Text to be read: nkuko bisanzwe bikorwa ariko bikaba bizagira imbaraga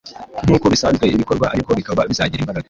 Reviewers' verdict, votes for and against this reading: accepted, 2, 0